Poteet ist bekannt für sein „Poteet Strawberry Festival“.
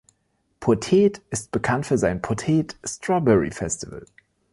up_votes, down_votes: 2, 1